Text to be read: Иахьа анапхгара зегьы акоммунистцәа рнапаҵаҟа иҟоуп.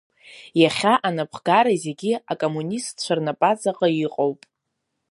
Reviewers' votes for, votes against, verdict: 1, 2, rejected